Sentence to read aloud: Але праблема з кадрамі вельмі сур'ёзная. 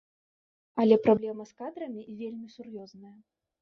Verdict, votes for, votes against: rejected, 1, 2